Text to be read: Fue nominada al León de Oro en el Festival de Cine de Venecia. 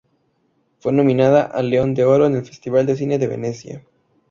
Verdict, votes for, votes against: accepted, 2, 0